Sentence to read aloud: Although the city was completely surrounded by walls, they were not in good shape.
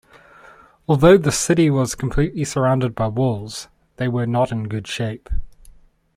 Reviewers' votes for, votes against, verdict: 2, 0, accepted